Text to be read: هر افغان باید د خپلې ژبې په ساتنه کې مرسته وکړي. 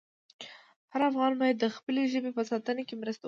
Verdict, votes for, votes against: accepted, 2, 0